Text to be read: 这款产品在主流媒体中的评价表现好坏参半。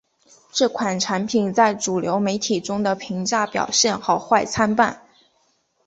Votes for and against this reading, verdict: 3, 1, accepted